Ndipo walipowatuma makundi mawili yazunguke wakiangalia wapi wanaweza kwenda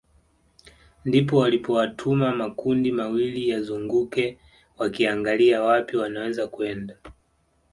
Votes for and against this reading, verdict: 2, 1, accepted